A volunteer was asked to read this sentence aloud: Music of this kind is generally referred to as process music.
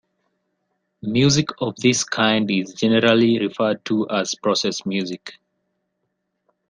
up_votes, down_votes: 2, 0